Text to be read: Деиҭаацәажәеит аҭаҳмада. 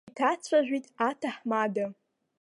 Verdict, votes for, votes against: rejected, 0, 2